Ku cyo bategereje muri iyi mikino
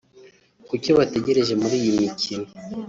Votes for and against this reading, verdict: 1, 2, rejected